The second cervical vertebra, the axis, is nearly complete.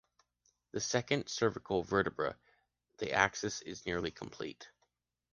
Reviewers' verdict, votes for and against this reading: accepted, 2, 0